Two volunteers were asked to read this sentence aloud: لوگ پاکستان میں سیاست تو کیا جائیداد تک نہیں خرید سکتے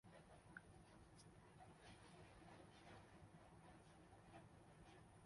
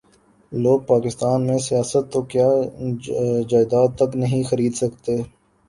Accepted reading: second